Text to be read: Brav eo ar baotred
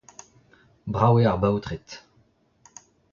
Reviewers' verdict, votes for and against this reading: accepted, 2, 0